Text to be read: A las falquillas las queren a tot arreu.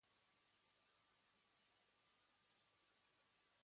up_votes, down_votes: 1, 2